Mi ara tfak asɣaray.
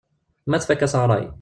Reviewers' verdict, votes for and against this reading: rejected, 0, 2